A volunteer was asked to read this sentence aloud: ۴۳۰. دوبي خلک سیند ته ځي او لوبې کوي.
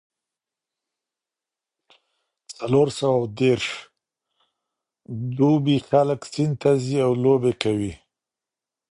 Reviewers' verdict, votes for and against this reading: rejected, 0, 2